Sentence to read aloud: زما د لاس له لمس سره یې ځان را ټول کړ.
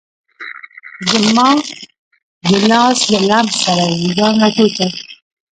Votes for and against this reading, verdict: 2, 1, accepted